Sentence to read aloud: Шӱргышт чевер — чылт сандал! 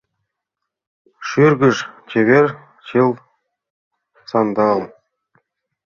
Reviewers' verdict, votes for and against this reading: rejected, 1, 2